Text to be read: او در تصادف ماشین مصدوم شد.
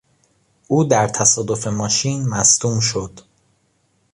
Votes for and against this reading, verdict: 2, 0, accepted